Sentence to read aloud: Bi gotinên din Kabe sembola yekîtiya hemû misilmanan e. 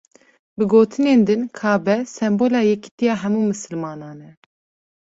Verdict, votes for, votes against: accepted, 2, 1